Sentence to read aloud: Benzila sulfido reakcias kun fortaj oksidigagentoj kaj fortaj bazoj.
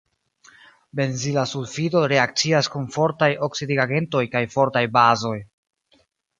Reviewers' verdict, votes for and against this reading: rejected, 0, 2